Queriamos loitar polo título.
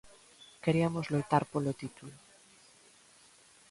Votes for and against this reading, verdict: 0, 2, rejected